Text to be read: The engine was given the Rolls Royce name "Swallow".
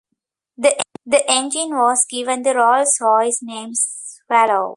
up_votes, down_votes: 0, 2